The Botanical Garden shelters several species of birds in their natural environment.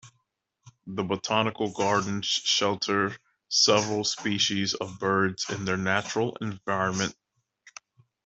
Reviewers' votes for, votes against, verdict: 1, 2, rejected